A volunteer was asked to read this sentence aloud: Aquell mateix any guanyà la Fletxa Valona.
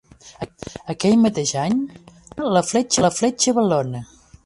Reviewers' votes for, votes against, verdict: 1, 2, rejected